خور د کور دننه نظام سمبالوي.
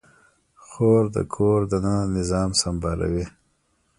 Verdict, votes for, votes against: rejected, 1, 2